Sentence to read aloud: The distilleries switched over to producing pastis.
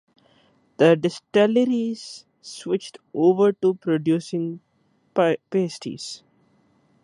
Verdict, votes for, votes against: rejected, 1, 2